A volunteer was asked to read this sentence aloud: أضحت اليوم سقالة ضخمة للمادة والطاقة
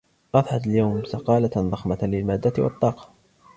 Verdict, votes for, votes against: accepted, 2, 0